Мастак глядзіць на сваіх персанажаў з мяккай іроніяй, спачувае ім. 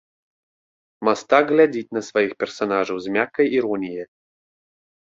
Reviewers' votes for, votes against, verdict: 0, 2, rejected